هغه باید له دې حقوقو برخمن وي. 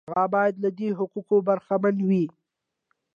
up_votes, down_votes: 2, 0